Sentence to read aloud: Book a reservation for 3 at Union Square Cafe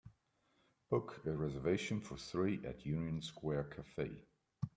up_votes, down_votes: 0, 2